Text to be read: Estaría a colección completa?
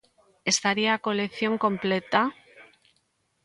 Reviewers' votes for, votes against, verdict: 2, 0, accepted